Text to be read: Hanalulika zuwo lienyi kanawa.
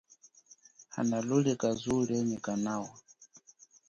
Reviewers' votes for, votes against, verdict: 2, 0, accepted